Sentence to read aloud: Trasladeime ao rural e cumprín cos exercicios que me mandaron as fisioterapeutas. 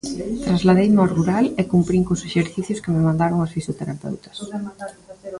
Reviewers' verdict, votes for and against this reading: rejected, 1, 2